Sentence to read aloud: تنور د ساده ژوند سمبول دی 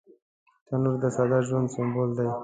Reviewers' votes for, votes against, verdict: 1, 2, rejected